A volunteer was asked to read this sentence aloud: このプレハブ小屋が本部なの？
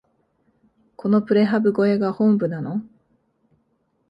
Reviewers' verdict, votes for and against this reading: accepted, 2, 0